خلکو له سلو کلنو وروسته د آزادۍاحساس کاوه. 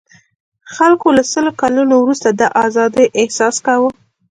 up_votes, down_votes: 2, 0